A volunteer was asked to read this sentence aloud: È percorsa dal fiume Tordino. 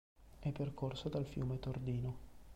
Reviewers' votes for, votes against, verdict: 2, 0, accepted